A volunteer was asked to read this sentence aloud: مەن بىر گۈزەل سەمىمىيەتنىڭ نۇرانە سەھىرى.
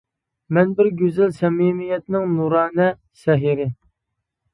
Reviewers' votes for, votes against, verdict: 2, 0, accepted